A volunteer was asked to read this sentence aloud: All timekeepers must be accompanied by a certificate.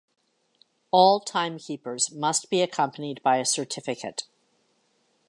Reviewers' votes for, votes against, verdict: 2, 0, accepted